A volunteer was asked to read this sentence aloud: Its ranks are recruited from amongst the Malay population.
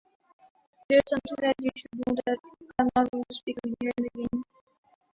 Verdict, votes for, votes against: rejected, 1, 2